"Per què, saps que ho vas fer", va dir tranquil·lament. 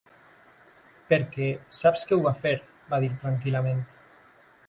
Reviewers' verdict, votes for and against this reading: rejected, 1, 2